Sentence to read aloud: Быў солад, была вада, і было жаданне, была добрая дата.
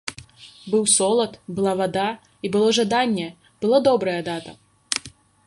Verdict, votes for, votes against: accepted, 2, 1